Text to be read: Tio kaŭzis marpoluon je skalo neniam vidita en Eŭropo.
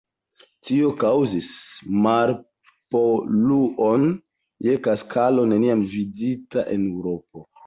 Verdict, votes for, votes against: rejected, 1, 2